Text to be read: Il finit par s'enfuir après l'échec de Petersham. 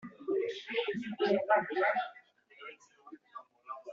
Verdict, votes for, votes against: rejected, 0, 2